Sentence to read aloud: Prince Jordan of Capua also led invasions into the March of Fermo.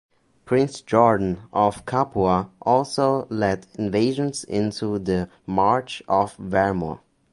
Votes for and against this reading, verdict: 0, 2, rejected